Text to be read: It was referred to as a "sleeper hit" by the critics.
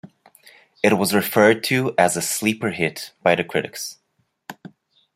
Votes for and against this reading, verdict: 1, 2, rejected